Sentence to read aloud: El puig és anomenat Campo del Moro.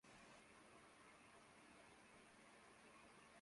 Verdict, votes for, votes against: rejected, 0, 2